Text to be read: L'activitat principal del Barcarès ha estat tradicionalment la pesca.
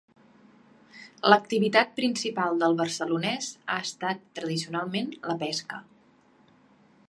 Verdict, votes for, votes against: rejected, 0, 2